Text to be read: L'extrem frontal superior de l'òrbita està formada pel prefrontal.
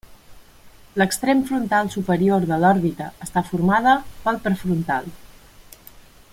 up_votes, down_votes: 3, 0